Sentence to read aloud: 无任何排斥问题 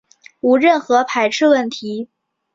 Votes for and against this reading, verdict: 2, 0, accepted